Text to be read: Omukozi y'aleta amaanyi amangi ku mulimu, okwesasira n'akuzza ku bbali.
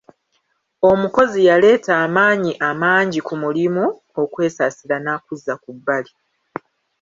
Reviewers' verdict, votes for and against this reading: rejected, 0, 2